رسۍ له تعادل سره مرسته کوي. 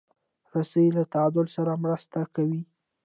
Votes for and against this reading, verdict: 2, 0, accepted